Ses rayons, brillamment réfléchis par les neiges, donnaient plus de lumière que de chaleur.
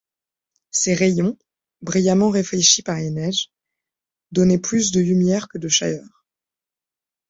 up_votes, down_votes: 2, 1